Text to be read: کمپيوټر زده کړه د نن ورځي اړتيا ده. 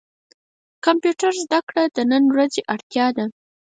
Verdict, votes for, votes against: rejected, 0, 4